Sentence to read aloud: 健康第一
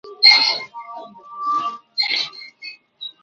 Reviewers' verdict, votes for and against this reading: rejected, 1, 2